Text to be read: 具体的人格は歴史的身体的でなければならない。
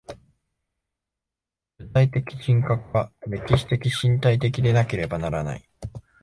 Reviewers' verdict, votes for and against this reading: accepted, 2, 0